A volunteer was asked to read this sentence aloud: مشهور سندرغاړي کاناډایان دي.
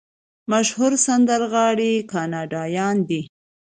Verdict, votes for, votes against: accepted, 2, 1